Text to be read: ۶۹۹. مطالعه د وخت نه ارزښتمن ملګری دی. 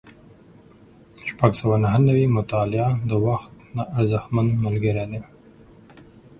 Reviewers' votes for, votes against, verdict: 0, 2, rejected